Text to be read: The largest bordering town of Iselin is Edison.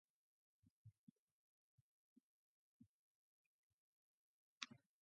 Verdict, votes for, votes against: rejected, 0, 2